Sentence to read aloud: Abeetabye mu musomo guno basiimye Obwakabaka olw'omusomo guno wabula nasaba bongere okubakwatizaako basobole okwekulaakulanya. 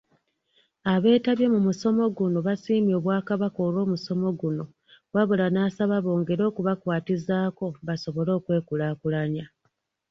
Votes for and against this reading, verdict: 2, 0, accepted